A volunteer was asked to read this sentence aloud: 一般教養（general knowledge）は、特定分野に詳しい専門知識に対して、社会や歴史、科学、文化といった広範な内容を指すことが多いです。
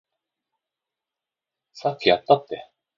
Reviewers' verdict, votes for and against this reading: rejected, 0, 2